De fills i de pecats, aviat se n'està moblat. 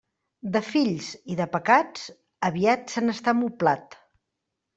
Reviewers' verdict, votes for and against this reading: accepted, 3, 0